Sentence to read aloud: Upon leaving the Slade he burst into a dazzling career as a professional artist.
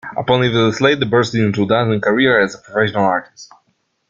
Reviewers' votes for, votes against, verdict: 0, 2, rejected